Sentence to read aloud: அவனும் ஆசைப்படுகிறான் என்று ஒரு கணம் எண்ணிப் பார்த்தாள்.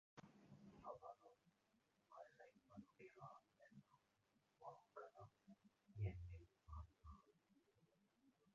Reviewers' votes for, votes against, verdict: 0, 2, rejected